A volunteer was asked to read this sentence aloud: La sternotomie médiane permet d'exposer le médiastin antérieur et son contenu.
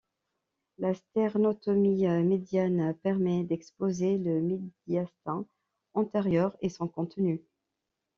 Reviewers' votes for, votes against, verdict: 1, 2, rejected